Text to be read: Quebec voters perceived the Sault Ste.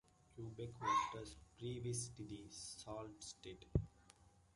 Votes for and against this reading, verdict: 0, 2, rejected